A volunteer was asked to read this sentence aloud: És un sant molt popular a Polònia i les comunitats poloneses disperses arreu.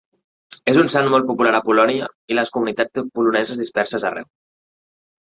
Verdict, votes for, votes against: rejected, 0, 2